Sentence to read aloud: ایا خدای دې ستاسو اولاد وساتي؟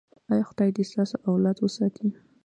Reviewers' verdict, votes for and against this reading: accepted, 2, 1